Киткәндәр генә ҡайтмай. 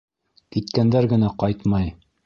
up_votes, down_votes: 1, 2